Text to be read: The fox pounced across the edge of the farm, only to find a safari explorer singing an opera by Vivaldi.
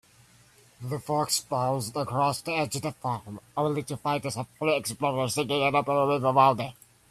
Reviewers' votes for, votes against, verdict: 0, 2, rejected